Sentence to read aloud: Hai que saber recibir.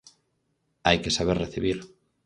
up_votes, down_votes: 4, 0